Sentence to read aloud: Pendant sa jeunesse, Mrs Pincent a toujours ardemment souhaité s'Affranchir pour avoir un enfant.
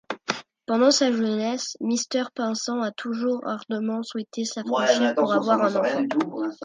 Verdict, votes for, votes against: rejected, 1, 2